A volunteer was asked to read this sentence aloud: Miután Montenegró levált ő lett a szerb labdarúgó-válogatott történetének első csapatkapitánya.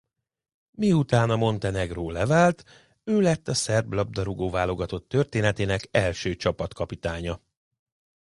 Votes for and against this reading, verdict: 0, 2, rejected